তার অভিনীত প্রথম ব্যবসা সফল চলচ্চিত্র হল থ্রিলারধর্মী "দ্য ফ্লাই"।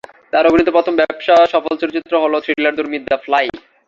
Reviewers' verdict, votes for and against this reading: rejected, 0, 2